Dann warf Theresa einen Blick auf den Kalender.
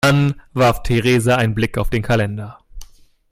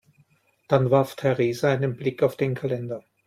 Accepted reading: second